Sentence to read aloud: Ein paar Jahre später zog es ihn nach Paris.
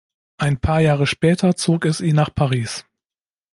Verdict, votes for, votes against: accepted, 2, 0